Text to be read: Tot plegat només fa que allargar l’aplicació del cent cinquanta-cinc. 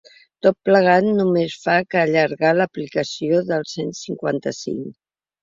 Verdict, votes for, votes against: accepted, 2, 0